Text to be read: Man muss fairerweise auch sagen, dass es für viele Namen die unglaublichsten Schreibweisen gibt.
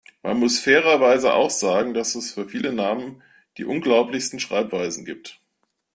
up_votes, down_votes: 2, 0